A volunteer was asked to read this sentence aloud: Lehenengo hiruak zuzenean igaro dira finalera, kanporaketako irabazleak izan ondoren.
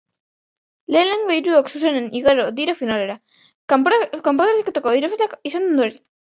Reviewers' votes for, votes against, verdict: 1, 3, rejected